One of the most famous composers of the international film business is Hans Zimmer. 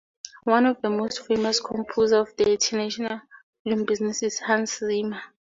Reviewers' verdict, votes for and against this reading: rejected, 0, 2